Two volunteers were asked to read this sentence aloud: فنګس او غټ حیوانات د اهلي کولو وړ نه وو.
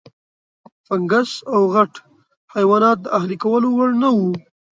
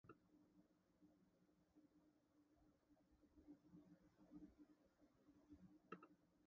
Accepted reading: first